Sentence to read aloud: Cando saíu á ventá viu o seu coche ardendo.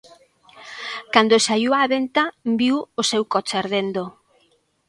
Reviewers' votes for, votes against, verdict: 2, 0, accepted